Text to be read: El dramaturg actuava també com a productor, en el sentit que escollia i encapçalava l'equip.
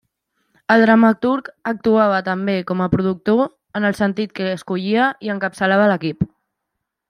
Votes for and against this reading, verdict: 3, 0, accepted